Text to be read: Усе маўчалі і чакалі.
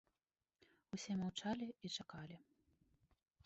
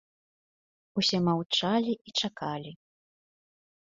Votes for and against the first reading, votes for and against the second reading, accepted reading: 1, 2, 2, 0, second